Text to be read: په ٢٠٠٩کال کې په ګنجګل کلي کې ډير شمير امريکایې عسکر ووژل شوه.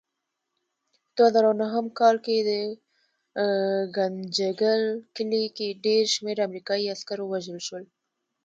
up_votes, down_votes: 0, 2